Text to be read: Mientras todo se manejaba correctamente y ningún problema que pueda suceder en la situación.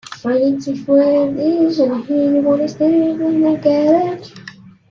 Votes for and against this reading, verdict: 0, 2, rejected